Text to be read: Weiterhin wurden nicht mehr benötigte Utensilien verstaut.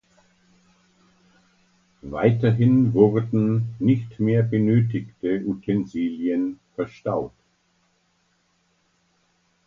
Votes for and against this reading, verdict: 2, 1, accepted